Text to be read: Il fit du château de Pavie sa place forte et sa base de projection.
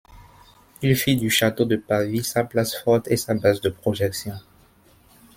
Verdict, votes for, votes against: accepted, 2, 0